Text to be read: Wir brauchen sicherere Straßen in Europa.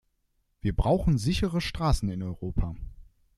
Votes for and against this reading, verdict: 1, 2, rejected